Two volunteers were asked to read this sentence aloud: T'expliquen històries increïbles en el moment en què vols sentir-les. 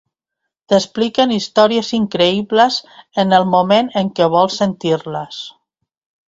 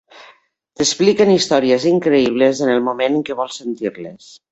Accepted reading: first